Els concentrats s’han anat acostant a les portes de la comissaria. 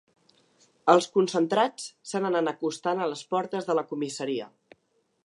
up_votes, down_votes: 2, 3